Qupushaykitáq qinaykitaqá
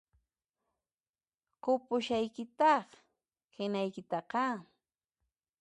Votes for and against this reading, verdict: 2, 0, accepted